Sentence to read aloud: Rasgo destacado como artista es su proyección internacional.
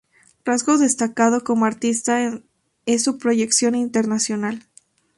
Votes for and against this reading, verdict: 0, 2, rejected